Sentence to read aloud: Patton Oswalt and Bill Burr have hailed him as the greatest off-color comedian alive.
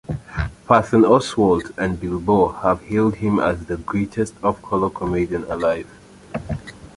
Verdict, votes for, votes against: rejected, 0, 2